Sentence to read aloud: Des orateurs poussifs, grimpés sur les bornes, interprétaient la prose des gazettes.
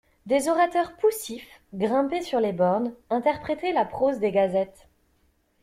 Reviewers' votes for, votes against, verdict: 2, 0, accepted